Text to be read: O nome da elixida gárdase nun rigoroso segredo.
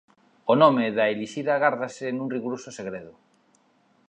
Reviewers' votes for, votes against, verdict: 2, 0, accepted